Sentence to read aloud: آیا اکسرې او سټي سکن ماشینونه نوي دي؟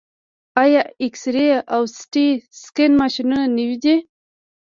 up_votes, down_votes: 2, 1